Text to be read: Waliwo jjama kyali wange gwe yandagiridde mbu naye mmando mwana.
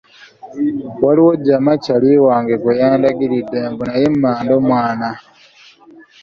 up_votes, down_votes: 2, 0